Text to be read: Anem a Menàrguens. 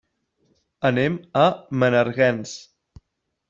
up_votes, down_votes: 1, 2